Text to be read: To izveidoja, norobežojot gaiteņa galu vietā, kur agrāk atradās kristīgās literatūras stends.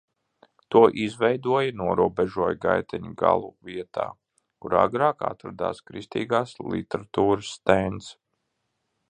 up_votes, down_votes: 0, 2